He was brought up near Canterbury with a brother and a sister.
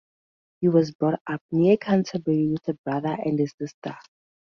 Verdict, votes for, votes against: accepted, 2, 0